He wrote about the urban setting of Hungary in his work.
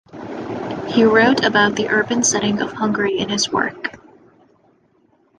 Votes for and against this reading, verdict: 2, 0, accepted